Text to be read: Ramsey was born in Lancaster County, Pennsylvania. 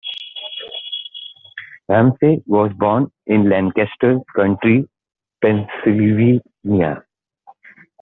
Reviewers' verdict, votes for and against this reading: rejected, 1, 2